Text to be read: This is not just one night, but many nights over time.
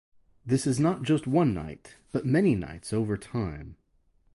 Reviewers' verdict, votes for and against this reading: rejected, 2, 2